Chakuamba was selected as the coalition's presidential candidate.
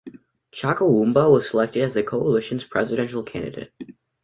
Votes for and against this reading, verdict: 2, 0, accepted